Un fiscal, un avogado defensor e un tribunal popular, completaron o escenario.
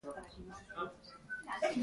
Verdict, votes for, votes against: rejected, 0, 2